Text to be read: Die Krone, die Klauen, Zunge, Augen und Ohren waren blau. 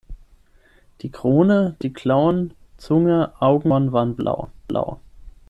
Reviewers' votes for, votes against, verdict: 0, 6, rejected